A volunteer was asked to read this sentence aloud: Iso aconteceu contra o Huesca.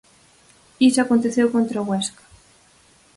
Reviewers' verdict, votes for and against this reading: accepted, 4, 0